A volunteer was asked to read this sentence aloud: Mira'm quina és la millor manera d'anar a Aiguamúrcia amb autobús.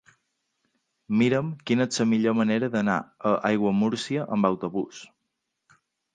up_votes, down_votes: 2, 0